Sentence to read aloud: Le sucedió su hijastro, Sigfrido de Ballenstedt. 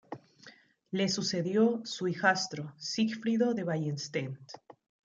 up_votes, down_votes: 1, 2